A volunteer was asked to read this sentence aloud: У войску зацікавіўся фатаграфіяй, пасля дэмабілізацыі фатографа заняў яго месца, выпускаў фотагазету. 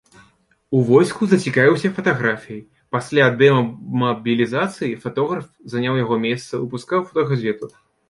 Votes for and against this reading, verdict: 0, 2, rejected